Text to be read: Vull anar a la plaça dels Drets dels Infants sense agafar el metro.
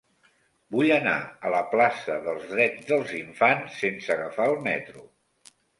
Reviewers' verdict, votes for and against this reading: accepted, 3, 0